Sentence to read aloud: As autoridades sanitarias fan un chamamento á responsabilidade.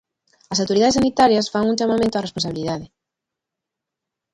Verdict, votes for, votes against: rejected, 0, 2